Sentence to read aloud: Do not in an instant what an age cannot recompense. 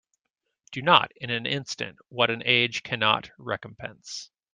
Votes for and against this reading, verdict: 2, 0, accepted